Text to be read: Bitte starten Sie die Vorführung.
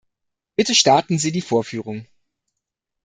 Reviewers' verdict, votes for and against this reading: accepted, 2, 1